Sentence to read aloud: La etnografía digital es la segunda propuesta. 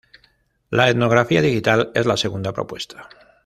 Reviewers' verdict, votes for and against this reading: accepted, 2, 0